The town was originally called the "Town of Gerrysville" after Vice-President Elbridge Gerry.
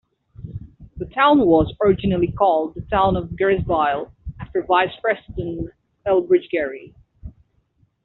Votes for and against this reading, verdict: 1, 2, rejected